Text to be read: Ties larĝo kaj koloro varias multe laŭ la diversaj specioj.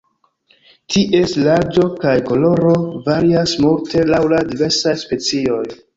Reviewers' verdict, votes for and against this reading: accepted, 2, 1